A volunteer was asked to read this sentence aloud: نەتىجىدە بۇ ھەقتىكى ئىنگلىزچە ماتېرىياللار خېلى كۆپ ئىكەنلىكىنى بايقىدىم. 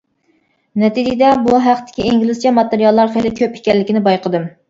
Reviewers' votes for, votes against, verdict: 2, 0, accepted